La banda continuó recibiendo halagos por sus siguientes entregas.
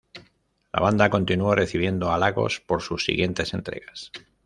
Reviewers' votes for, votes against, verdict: 2, 0, accepted